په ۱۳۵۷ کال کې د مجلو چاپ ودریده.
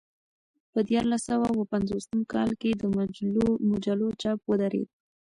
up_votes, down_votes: 0, 2